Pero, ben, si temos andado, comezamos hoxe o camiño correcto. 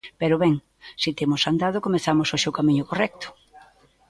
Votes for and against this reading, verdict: 2, 1, accepted